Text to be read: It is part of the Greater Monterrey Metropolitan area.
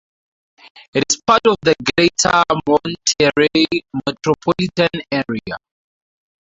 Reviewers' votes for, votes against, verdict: 4, 0, accepted